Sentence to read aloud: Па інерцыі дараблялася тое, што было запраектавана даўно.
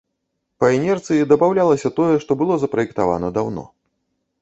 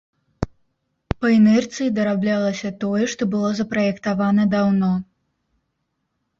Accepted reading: second